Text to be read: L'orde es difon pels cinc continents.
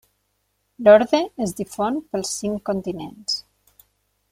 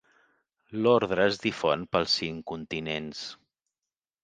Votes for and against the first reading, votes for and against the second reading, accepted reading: 6, 0, 1, 2, first